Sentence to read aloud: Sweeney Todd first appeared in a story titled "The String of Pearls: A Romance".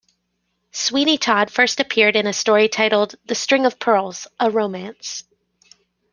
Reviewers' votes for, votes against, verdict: 2, 0, accepted